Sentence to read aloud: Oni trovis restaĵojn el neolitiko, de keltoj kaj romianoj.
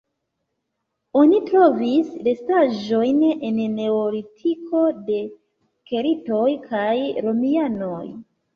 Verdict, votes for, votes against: rejected, 1, 2